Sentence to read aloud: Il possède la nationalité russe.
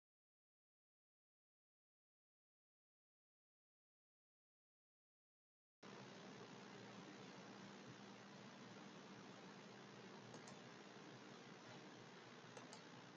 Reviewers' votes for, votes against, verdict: 0, 2, rejected